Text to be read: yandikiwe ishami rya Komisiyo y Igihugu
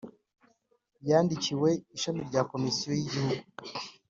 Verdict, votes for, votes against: accepted, 3, 0